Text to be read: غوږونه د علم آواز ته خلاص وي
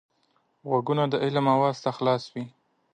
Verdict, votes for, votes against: accepted, 2, 0